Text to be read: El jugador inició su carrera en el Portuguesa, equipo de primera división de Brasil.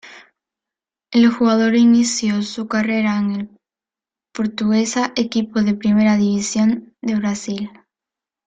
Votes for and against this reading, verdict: 2, 0, accepted